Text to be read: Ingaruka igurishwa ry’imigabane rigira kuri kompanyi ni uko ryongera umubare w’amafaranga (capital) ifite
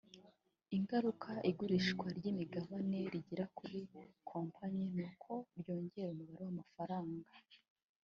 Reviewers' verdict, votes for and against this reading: rejected, 1, 2